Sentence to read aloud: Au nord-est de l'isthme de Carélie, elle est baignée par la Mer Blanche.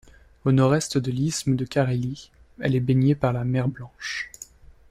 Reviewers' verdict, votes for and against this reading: accepted, 2, 0